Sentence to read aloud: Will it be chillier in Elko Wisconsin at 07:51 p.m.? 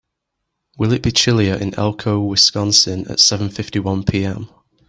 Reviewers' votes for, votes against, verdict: 0, 2, rejected